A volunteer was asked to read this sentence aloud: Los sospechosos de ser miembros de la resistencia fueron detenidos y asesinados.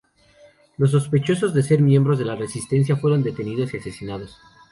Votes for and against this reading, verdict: 2, 0, accepted